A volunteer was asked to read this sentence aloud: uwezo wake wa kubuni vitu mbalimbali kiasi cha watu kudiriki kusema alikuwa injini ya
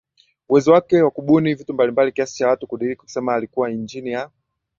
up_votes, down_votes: 0, 2